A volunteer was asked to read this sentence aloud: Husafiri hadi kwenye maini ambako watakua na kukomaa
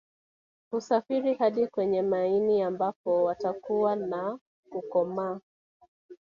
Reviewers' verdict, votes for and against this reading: rejected, 1, 2